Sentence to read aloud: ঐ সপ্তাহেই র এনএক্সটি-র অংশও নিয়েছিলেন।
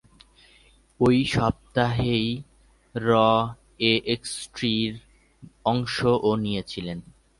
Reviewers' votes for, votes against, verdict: 7, 6, accepted